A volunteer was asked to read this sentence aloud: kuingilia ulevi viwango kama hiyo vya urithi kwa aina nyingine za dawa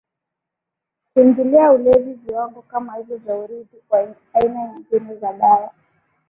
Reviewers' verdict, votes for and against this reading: rejected, 8, 8